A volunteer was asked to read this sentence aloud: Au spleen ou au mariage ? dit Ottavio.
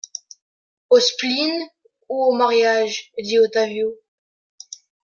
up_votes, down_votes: 2, 0